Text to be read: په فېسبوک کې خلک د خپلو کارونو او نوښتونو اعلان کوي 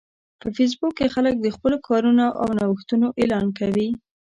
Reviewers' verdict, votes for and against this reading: rejected, 1, 2